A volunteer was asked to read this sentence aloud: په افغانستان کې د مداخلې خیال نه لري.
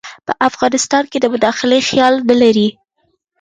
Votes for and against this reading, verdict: 2, 0, accepted